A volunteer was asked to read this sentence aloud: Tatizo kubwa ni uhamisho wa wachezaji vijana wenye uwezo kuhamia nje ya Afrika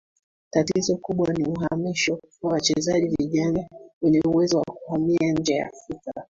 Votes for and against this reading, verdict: 2, 1, accepted